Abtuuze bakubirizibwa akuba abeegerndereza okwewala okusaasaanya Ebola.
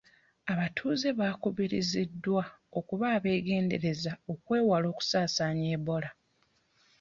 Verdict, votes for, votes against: rejected, 1, 2